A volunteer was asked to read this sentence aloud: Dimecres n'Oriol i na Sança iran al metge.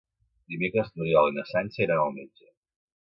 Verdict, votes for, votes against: accepted, 2, 1